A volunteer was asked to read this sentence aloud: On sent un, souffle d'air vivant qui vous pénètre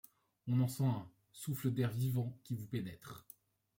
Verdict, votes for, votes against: rejected, 1, 2